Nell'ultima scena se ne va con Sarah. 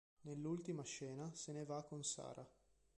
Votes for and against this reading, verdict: 2, 0, accepted